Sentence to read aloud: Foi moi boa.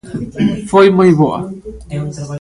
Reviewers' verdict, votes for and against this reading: rejected, 0, 2